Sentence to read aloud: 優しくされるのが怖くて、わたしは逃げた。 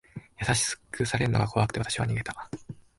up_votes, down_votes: 1, 3